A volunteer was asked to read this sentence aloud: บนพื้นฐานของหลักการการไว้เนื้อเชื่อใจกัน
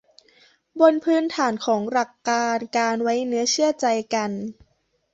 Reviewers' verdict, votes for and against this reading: accepted, 2, 0